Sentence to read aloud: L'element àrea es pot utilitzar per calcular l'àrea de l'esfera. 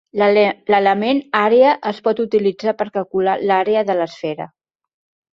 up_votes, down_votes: 0, 2